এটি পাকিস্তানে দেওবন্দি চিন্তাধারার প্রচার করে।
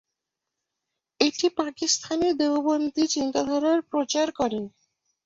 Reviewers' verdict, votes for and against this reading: rejected, 2, 2